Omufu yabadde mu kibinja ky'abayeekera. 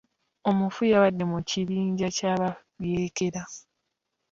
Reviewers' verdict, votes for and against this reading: accepted, 2, 0